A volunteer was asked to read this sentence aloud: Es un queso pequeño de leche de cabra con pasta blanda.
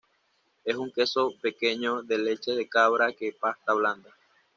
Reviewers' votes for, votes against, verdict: 1, 2, rejected